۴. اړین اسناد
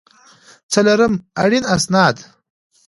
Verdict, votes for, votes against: rejected, 0, 2